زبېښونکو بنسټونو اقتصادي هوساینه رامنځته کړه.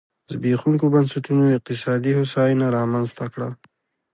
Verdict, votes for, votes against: accepted, 2, 0